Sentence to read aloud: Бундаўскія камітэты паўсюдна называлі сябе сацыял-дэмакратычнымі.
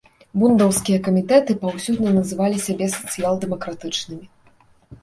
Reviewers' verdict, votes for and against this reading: accepted, 2, 0